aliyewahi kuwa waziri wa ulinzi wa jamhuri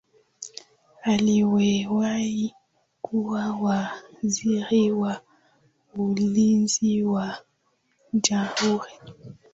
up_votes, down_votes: 22, 6